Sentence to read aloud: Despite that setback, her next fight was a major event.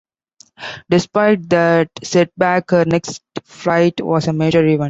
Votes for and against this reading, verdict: 2, 0, accepted